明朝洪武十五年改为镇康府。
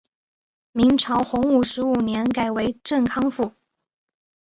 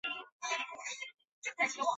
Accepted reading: first